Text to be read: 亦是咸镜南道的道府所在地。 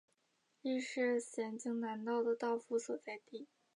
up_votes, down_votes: 3, 1